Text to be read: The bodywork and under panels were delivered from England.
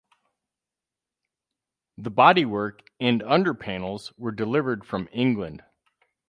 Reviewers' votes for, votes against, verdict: 2, 2, rejected